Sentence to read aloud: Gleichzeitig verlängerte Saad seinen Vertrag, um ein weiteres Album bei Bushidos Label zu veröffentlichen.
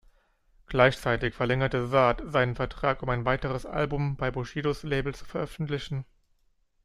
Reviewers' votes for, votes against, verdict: 2, 0, accepted